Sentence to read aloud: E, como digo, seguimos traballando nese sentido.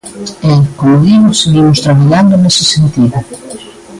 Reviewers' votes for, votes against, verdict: 0, 2, rejected